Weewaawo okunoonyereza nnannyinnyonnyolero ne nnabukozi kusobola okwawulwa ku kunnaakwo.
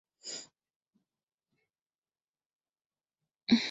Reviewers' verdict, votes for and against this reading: rejected, 0, 2